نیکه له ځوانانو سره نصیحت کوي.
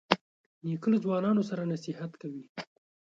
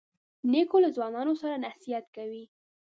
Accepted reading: first